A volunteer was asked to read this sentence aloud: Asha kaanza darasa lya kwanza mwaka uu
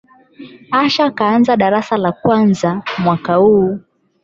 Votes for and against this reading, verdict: 4, 12, rejected